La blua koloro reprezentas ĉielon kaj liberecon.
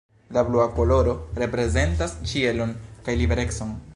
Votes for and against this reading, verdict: 2, 1, accepted